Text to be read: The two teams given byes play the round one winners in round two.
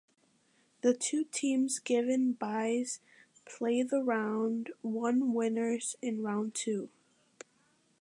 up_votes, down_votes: 2, 0